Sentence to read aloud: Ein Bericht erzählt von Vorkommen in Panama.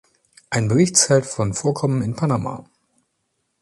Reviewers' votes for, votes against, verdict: 0, 2, rejected